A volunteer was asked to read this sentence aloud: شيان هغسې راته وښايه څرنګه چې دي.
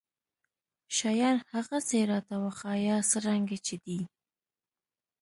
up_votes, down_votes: 2, 0